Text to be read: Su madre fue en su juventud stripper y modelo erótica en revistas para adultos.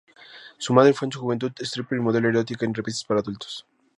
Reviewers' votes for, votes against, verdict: 2, 0, accepted